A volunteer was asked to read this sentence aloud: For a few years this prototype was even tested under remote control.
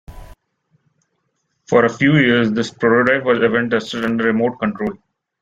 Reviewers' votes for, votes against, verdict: 2, 0, accepted